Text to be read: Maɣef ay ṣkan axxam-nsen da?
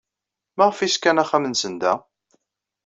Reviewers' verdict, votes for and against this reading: rejected, 1, 2